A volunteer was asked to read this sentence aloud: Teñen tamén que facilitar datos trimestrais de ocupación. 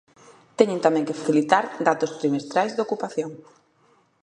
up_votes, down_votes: 2, 0